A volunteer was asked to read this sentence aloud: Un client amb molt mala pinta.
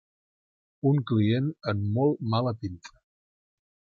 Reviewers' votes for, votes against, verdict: 2, 0, accepted